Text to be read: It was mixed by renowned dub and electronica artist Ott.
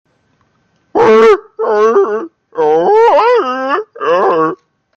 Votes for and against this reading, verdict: 0, 2, rejected